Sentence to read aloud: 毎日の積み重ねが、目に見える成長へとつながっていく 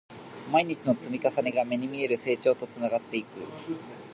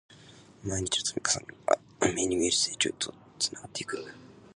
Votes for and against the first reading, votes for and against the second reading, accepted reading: 2, 0, 1, 2, first